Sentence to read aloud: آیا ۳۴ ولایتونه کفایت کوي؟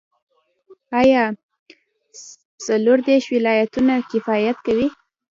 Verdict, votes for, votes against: rejected, 0, 2